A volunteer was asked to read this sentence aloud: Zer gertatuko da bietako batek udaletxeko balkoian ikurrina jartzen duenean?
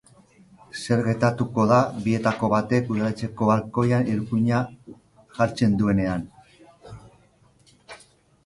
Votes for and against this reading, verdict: 0, 2, rejected